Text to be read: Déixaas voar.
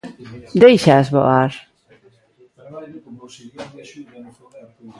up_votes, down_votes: 1, 2